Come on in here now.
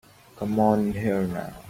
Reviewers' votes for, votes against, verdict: 2, 3, rejected